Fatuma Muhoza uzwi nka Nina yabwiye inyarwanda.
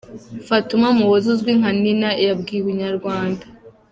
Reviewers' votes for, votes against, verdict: 2, 0, accepted